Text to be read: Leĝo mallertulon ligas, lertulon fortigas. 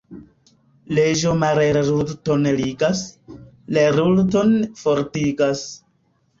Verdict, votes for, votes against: accepted, 2, 0